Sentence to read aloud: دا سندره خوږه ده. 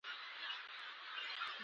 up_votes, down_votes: 0, 2